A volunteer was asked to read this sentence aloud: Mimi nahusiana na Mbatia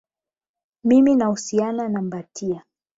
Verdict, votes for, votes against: rejected, 4, 8